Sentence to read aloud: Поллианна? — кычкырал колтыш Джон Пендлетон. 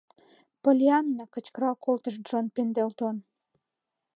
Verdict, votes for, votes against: rejected, 1, 6